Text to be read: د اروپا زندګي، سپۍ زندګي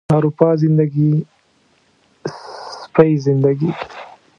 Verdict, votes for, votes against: rejected, 0, 2